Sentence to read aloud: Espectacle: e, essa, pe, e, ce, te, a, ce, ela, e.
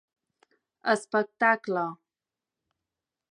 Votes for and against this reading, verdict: 0, 3, rejected